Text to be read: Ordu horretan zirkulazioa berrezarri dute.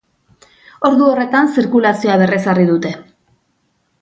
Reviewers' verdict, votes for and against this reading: rejected, 0, 2